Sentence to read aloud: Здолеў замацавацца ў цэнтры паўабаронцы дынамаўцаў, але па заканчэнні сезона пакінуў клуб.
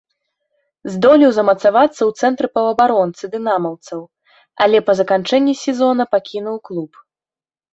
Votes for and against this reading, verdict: 2, 0, accepted